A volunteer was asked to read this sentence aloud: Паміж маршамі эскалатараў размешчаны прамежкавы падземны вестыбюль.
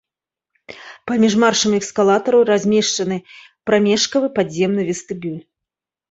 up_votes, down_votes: 1, 2